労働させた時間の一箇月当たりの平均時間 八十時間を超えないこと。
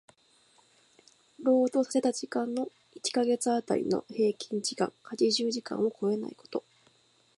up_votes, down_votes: 2, 1